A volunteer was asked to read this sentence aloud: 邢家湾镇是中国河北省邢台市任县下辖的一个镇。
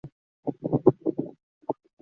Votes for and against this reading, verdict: 0, 2, rejected